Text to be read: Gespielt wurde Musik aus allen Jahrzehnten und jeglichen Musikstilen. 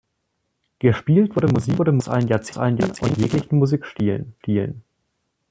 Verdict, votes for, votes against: rejected, 0, 2